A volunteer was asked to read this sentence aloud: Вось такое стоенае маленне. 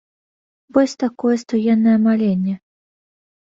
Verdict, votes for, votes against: accepted, 2, 1